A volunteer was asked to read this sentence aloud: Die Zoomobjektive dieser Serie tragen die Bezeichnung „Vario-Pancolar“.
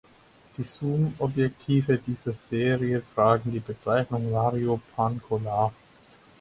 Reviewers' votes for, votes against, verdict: 4, 2, accepted